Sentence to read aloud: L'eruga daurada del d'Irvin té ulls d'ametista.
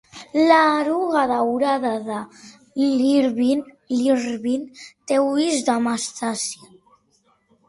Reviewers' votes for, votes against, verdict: 0, 2, rejected